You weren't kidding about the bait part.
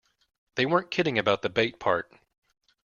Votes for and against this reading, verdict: 0, 2, rejected